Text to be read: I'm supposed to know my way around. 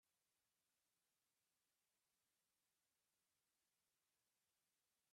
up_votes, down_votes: 0, 2